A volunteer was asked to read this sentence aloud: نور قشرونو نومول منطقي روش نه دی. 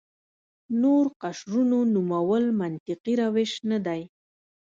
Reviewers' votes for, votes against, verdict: 1, 2, rejected